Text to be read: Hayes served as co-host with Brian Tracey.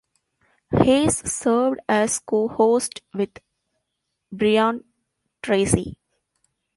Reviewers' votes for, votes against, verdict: 1, 2, rejected